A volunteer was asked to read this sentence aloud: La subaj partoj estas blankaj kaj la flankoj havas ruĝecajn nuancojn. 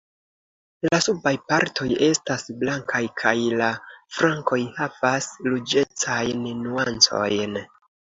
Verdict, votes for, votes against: accepted, 2, 1